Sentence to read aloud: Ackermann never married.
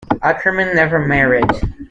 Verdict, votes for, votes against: accepted, 2, 0